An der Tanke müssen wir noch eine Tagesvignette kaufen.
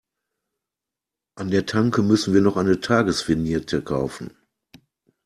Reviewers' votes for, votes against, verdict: 2, 1, accepted